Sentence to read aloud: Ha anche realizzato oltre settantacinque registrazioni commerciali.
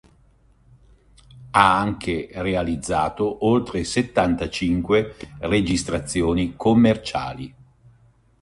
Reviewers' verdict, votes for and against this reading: accepted, 2, 0